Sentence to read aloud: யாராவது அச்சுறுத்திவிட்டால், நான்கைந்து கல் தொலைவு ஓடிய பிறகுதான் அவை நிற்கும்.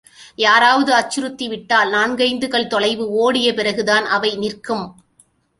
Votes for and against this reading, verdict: 2, 0, accepted